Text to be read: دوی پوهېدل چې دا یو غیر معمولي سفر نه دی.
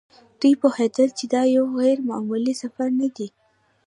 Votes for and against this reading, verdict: 0, 2, rejected